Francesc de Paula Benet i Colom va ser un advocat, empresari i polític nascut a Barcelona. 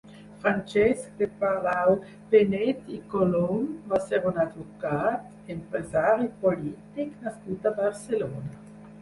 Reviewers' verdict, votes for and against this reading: rejected, 0, 4